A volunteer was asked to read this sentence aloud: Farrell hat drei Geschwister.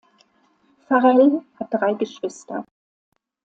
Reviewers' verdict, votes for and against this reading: accepted, 2, 1